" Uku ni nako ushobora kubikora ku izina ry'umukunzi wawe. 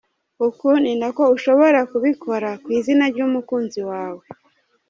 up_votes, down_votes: 2, 1